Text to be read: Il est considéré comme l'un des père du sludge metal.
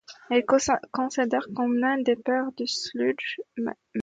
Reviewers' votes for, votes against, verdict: 0, 2, rejected